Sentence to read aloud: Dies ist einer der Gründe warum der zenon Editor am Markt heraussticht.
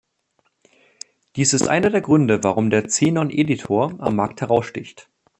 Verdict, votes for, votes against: accepted, 2, 0